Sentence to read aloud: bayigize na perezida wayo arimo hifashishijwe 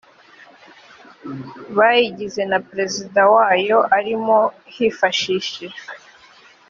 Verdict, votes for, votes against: accepted, 2, 1